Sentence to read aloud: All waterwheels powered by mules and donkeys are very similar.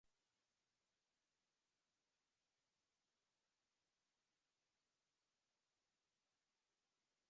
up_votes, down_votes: 0, 2